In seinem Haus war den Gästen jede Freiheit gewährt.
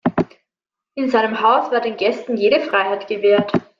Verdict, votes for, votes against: accepted, 2, 1